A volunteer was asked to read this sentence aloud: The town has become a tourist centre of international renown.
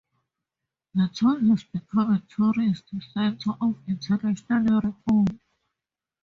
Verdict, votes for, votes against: rejected, 0, 2